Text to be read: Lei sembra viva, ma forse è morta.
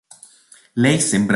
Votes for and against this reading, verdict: 0, 3, rejected